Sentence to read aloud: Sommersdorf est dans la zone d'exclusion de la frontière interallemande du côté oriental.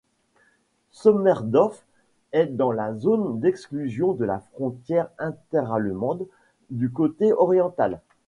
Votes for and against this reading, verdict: 0, 2, rejected